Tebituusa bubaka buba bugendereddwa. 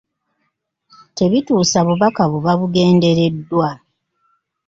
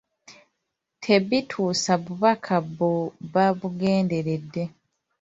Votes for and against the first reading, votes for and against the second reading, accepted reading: 2, 1, 0, 2, first